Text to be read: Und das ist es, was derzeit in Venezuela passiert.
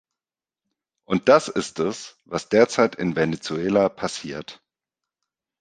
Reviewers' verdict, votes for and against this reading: accepted, 2, 0